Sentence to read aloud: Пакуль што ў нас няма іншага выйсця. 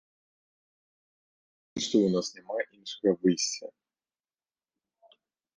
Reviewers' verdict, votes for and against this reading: rejected, 0, 2